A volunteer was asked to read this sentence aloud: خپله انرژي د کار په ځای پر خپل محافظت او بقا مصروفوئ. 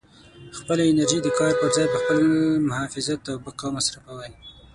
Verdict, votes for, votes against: rejected, 6, 9